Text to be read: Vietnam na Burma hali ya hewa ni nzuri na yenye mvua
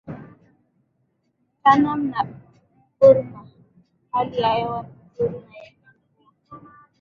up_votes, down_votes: 0, 3